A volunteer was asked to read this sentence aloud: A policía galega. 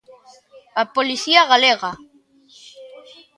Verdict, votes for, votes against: accepted, 2, 1